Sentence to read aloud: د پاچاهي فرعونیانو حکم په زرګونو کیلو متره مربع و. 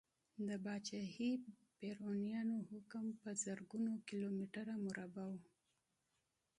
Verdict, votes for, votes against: rejected, 1, 2